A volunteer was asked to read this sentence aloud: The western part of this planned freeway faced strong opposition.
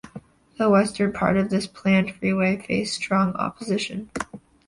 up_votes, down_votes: 2, 0